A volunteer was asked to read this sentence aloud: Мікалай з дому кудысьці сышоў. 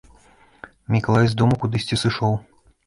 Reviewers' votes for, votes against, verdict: 2, 0, accepted